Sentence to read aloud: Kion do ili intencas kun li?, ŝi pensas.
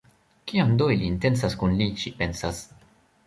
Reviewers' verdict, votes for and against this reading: rejected, 1, 2